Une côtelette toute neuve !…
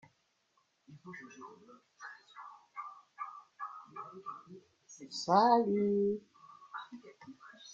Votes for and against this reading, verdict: 0, 2, rejected